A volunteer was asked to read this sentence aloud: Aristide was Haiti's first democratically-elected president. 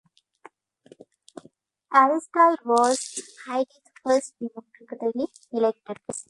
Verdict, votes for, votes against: rejected, 0, 2